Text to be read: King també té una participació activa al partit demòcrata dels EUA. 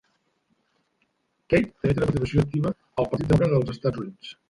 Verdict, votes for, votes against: rejected, 0, 2